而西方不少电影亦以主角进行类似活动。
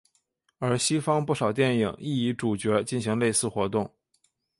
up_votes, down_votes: 2, 1